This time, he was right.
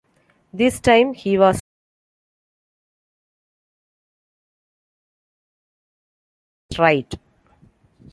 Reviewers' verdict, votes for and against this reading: rejected, 1, 2